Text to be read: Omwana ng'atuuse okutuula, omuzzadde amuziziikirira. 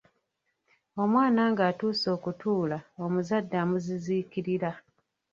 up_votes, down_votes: 1, 2